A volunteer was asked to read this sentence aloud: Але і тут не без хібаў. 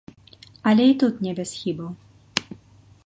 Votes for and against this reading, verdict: 2, 0, accepted